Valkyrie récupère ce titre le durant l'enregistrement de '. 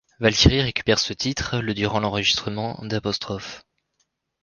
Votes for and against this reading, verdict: 1, 2, rejected